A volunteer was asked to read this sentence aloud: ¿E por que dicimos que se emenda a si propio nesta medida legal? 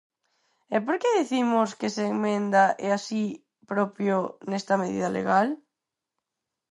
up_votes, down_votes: 0, 4